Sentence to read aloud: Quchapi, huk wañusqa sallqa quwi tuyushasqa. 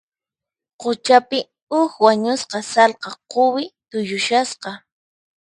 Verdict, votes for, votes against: accepted, 4, 0